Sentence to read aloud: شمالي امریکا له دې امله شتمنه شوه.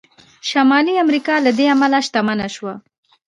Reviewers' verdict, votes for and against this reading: accepted, 2, 0